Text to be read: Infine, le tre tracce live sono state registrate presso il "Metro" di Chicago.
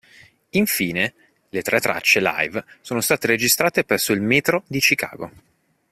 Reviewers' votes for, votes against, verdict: 3, 0, accepted